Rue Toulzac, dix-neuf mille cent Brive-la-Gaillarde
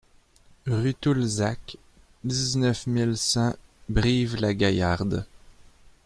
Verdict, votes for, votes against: accepted, 2, 0